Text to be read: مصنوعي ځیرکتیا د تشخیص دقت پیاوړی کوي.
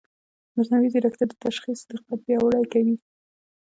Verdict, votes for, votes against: accepted, 2, 0